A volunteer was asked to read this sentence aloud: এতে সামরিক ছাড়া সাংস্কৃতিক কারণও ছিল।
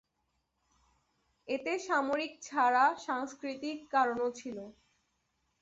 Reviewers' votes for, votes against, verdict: 2, 0, accepted